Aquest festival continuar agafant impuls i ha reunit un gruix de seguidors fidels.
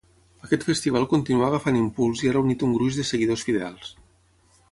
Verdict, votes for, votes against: accepted, 6, 0